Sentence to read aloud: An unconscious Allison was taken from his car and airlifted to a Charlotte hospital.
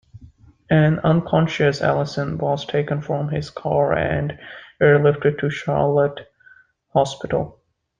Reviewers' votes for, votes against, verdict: 0, 2, rejected